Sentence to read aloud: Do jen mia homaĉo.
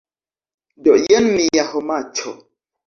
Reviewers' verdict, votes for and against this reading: accepted, 2, 0